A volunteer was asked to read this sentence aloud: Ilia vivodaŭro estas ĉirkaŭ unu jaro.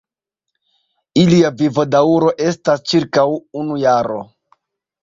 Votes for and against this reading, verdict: 2, 0, accepted